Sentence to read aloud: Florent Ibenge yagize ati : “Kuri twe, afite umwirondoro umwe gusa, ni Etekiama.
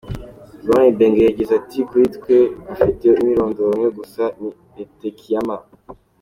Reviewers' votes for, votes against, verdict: 2, 0, accepted